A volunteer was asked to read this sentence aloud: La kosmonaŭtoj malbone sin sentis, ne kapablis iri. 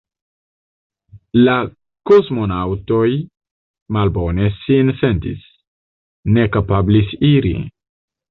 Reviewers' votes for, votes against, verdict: 2, 0, accepted